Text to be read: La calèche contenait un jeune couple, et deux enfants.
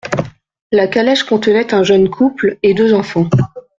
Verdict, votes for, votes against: accepted, 2, 0